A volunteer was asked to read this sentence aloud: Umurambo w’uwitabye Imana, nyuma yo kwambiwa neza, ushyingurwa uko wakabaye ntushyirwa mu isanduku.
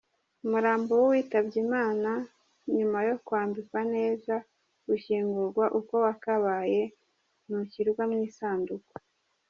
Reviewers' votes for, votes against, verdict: 0, 2, rejected